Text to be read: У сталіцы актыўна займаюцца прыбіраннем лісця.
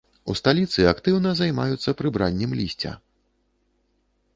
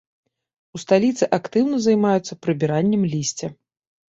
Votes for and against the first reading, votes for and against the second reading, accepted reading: 1, 2, 2, 1, second